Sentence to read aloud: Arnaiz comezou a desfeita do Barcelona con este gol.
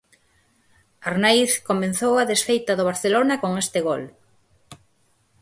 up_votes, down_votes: 4, 2